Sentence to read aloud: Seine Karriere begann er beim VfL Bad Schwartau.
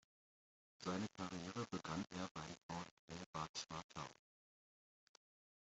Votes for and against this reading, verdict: 0, 2, rejected